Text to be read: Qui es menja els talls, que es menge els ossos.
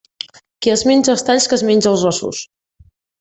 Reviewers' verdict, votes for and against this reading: accepted, 2, 0